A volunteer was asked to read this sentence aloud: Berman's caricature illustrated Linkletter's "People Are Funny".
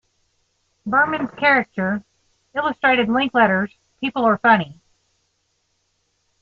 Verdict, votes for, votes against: rejected, 1, 2